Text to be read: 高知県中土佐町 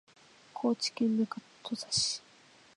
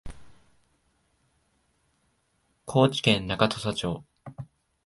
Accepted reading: second